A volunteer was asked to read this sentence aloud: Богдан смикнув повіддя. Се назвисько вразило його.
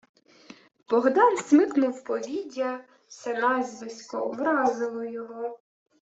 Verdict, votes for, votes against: rejected, 0, 2